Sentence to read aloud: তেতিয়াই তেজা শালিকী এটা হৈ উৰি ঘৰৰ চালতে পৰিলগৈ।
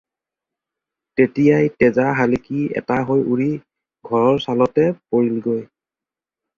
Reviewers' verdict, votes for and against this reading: accepted, 2, 0